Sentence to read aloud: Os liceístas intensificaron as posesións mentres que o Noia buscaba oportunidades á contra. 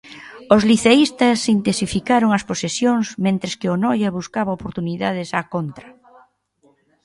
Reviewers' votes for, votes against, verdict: 3, 0, accepted